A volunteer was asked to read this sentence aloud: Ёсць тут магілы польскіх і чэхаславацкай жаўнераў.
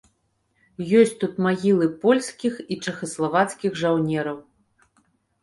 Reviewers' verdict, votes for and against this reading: rejected, 1, 2